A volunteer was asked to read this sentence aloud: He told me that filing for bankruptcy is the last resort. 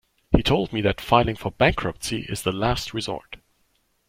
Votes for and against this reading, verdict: 2, 0, accepted